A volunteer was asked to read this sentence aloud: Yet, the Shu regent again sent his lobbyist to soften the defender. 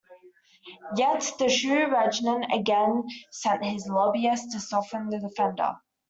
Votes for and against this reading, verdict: 1, 2, rejected